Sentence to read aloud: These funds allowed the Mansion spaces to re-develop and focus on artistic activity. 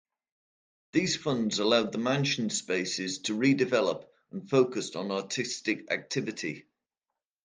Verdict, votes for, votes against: accepted, 2, 0